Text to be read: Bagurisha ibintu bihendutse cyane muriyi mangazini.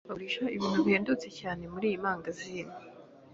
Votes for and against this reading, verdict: 3, 0, accepted